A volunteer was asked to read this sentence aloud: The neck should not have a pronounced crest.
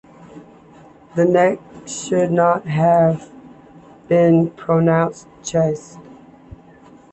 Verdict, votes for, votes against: rejected, 1, 2